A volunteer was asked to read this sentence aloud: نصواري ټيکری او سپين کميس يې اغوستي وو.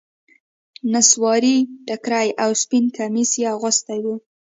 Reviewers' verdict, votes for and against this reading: accepted, 2, 0